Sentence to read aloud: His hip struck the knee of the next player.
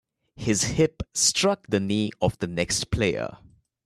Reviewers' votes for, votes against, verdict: 2, 1, accepted